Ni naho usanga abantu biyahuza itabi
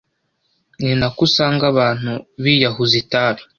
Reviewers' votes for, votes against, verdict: 1, 2, rejected